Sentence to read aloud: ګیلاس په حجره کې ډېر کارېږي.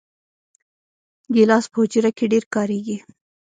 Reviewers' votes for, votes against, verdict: 1, 2, rejected